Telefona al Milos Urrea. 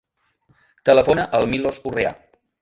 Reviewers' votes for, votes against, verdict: 2, 0, accepted